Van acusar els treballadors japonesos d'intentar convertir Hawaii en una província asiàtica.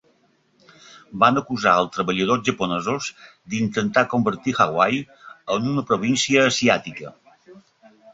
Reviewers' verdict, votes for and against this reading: accepted, 2, 1